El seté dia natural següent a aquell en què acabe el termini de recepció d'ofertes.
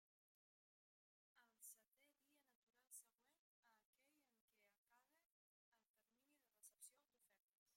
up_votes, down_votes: 0, 2